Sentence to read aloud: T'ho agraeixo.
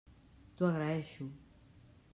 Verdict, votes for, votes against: rejected, 1, 2